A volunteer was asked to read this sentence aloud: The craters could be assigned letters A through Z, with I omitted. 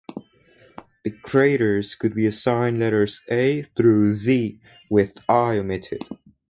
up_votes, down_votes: 2, 2